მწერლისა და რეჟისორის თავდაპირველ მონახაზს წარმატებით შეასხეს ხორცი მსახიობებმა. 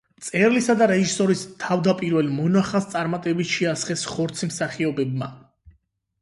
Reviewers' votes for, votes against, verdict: 8, 0, accepted